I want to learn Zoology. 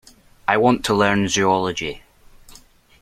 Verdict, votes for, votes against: accepted, 2, 0